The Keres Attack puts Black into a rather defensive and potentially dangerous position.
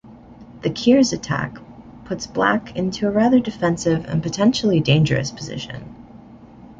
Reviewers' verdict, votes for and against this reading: accepted, 2, 0